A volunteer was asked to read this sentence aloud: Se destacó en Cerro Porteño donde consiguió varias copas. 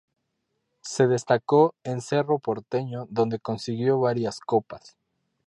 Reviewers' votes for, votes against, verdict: 2, 0, accepted